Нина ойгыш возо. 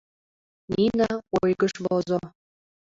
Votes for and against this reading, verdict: 2, 0, accepted